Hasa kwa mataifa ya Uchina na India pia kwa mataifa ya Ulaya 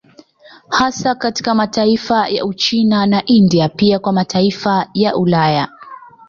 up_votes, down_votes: 0, 2